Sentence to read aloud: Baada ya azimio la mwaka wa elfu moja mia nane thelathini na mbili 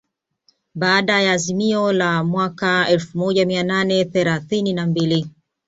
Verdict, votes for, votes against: accepted, 2, 0